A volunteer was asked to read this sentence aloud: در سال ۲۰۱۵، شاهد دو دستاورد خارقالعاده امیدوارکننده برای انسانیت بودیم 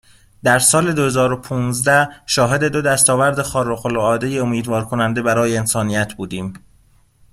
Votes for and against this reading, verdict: 0, 2, rejected